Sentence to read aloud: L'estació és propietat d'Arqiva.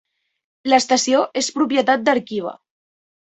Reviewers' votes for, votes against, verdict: 2, 0, accepted